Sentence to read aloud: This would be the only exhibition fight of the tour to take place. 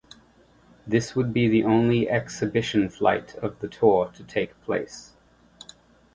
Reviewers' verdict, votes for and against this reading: rejected, 1, 2